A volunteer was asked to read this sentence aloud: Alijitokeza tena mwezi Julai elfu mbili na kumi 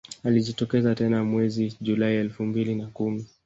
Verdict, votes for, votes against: rejected, 1, 2